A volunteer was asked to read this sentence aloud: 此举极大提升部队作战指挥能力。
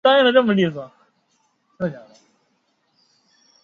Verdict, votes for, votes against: rejected, 0, 2